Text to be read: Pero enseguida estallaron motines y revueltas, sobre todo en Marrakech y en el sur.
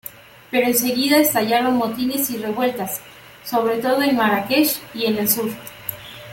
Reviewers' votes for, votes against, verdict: 2, 0, accepted